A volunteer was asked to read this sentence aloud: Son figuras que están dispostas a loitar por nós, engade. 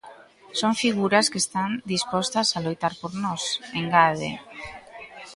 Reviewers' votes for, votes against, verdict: 0, 2, rejected